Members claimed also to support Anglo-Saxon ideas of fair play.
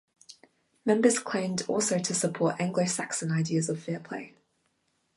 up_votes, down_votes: 2, 0